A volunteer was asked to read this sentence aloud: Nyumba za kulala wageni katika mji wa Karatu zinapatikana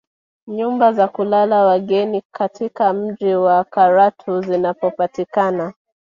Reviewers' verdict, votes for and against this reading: rejected, 1, 2